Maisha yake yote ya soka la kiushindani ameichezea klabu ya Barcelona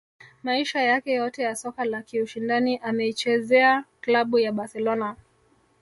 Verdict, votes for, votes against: accepted, 2, 0